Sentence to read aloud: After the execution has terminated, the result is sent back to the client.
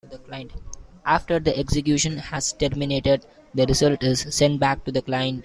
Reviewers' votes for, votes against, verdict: 1, 2, rejected